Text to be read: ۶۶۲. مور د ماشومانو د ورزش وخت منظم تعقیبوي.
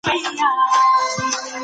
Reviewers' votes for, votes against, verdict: 0, 2, rejected